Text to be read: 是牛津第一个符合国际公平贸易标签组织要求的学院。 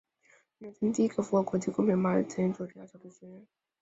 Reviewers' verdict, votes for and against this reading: rejected, 0, 4